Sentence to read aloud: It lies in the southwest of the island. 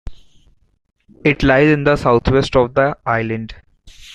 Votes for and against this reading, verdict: 0, 2, rejected